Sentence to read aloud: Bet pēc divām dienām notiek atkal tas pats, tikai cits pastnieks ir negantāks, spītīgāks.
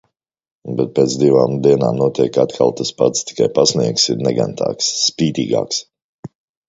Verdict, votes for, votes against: rejected, 0, 2